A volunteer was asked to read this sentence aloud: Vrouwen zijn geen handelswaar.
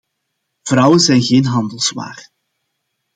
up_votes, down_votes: 2, 0